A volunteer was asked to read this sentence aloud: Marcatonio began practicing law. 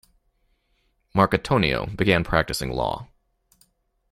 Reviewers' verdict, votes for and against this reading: accepted, 2, 0